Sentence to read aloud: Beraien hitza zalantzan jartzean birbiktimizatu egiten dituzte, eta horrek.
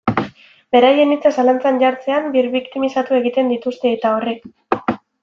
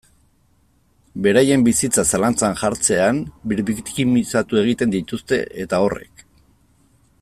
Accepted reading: first